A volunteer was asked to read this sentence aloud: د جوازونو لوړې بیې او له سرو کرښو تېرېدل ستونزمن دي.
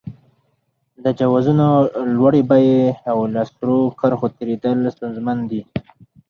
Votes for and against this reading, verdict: 4, 2, accepted